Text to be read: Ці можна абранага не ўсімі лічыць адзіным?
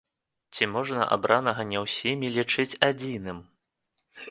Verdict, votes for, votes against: accepted, 2, 0